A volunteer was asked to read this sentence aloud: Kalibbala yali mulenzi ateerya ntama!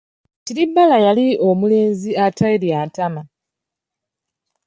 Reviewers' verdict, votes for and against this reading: rejected, 1, 2